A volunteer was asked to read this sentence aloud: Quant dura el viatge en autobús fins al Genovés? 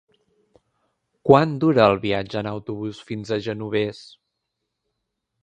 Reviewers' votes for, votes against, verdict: 1, 2, rejected